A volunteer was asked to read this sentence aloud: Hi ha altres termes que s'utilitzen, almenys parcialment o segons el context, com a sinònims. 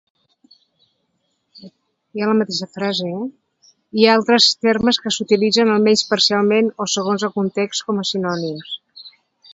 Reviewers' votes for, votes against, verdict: 1, 2, rejected